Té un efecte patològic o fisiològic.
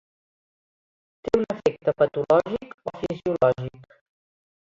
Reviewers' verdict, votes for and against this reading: rejected, 1, 2